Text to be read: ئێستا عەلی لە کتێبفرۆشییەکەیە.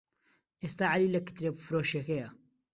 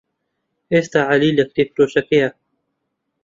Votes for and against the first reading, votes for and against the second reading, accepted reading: 2, 0, 1, 2, first